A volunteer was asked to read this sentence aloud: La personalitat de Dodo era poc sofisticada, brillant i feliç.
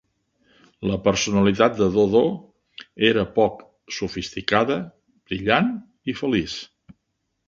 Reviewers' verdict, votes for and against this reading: accepted, 3, 0